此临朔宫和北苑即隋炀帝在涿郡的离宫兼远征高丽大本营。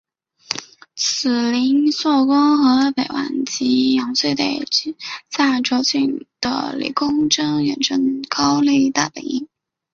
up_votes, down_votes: 0, 2